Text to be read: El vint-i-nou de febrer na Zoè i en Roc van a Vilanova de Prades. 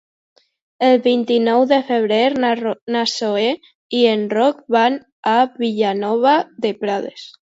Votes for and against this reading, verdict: 0, 2, rejected